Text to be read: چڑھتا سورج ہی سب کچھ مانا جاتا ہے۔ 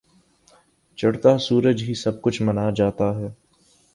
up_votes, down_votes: 2, 1